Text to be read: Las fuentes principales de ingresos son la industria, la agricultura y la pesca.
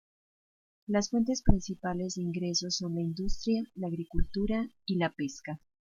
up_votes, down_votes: 2, 0